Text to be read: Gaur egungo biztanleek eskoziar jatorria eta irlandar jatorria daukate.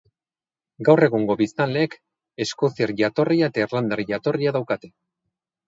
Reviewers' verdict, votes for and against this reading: accepted, 4, 0